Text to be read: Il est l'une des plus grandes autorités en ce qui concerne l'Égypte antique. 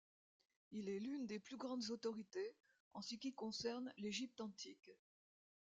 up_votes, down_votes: 2, 1